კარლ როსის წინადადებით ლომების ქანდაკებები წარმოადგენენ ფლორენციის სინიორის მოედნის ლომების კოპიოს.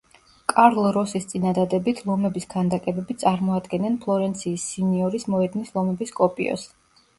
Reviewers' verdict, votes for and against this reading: accepted, 2, 0